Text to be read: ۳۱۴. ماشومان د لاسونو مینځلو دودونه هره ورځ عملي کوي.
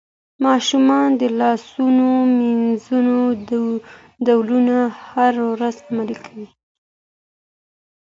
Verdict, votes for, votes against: rejected, 0, 2